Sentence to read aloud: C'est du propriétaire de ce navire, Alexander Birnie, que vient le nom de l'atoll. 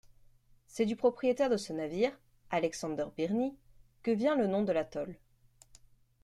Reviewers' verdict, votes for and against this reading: accepted, 2, 0